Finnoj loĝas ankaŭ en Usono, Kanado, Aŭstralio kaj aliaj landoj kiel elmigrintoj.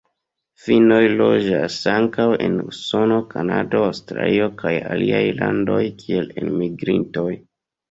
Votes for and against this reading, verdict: 2, 0, accepted